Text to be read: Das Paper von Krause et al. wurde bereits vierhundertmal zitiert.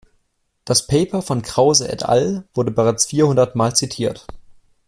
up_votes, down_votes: 2, 0